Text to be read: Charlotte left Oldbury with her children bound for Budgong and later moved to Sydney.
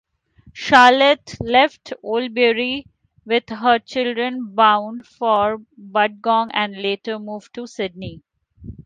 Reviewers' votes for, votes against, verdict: 3, 1, accepted